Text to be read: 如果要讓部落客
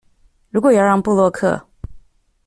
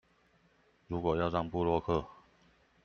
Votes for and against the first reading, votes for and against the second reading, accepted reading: 2, 1, 1, 2, first